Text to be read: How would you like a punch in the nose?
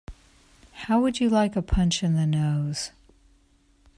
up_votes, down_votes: 2, 0